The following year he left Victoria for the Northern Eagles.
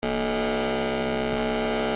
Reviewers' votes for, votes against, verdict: 0, 2, rejected